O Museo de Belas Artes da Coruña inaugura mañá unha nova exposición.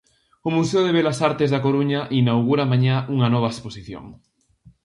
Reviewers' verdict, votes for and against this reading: accepted, 2, 0